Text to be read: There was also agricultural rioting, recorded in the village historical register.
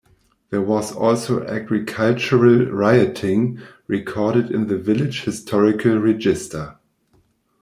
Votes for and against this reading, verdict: 0, 2, rejected